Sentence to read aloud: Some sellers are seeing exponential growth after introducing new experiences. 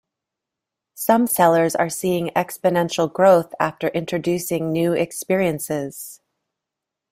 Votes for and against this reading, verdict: 2, 1, accepted